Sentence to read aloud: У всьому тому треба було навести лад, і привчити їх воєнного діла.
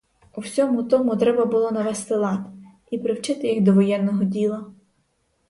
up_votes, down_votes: 0, 4